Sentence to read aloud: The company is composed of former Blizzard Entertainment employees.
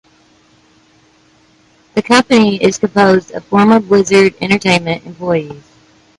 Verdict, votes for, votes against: accepted, 2, 1